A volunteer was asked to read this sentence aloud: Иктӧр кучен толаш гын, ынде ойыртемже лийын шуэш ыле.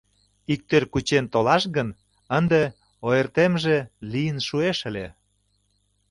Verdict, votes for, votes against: accepted, 2, 0